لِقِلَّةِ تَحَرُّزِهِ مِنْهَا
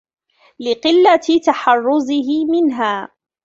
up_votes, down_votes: 2, 0